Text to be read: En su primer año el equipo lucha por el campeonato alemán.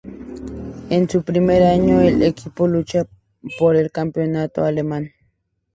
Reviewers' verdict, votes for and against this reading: accepted, 4, 0